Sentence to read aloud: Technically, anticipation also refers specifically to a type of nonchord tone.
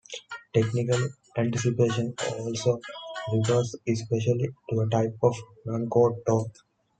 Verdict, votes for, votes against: rejected, 0, 2